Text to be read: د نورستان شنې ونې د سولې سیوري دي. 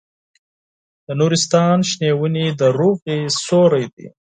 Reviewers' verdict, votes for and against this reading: rejected, 2, 4